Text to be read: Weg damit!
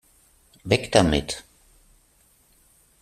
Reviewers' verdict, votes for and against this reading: accepted, 3, 0